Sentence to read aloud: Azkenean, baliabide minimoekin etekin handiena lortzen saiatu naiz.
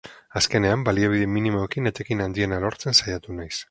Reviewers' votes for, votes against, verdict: 2, 0, accepted